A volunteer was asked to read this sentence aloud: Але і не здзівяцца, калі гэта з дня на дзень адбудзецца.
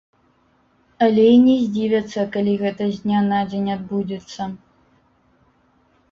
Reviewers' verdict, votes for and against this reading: rejected, 1, 2